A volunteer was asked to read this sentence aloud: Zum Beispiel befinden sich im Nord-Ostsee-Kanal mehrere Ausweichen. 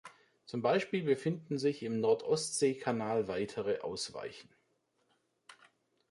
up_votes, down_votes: 0, 2